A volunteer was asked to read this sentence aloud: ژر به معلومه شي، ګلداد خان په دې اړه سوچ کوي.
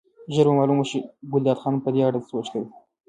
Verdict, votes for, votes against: rejected, 0, 2